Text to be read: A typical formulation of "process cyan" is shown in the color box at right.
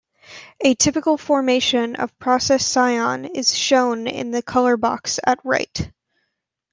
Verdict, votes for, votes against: accepted, 2, 0